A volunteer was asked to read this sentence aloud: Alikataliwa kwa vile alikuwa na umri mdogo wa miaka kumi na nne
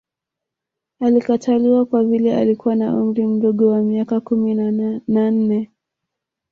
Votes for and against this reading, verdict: 3, 2, accepted